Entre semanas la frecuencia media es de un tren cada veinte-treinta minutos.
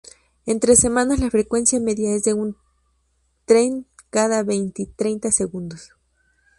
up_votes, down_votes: 0, 2